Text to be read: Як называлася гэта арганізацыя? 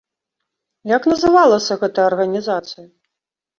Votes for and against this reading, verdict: 2, 0, accepted